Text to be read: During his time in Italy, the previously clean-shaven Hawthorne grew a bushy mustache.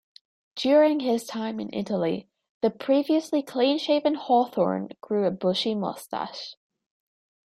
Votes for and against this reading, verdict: 2, 1, accepted